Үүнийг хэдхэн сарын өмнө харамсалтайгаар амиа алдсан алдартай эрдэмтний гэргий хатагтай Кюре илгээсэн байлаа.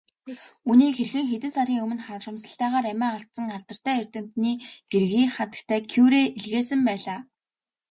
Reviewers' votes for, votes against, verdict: 1, 2, rejected